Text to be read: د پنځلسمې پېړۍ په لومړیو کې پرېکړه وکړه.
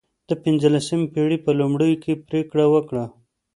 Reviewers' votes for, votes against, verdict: 2, 0, accepted